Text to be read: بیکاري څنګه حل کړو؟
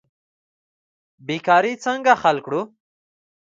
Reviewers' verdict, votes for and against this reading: rejected, 0, 2